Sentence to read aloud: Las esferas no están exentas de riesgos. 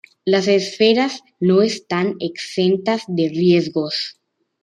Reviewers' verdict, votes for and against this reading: accepted, 2, 1